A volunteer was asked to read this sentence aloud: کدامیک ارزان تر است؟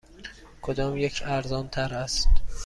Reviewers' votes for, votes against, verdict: 2, 0, accepted